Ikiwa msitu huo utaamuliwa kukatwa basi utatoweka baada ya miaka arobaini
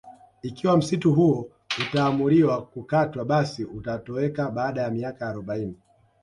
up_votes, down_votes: 0, 2